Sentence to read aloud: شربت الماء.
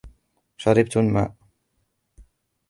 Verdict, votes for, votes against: accepted, 2, 0